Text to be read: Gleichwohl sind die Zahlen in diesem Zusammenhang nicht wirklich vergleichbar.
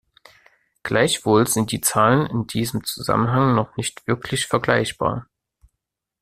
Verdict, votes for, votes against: rejected, 0, 2